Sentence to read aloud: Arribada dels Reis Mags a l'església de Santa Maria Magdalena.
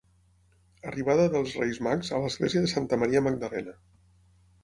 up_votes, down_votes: 6, 0